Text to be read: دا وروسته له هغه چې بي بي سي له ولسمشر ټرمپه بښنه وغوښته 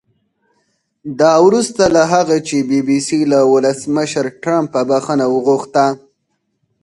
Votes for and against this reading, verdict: 4, 0, accepted